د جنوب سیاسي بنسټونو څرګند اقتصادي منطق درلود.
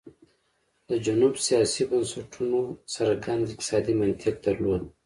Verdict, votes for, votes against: accepted, 2, 1